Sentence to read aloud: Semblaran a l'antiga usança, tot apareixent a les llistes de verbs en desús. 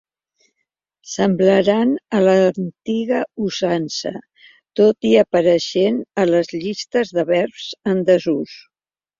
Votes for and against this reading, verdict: 0, 3, rejected